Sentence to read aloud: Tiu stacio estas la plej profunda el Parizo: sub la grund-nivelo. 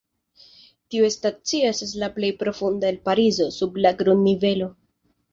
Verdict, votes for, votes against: accepted, 2, 0